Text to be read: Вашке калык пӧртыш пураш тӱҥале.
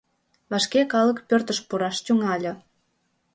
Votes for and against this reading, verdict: 1, 2, rejected